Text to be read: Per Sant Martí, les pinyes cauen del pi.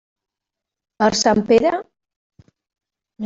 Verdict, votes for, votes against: rejected, 1, 2